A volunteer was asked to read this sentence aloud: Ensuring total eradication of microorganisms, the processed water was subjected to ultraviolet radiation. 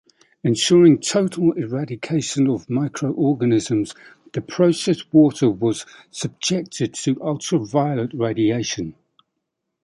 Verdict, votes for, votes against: accepted, 2, 0